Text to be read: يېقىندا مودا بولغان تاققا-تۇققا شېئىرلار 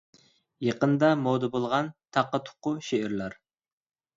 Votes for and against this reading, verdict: 2, 0, accepted